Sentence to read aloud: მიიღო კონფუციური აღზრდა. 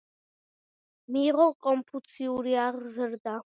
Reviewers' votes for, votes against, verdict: 2, 0, accepted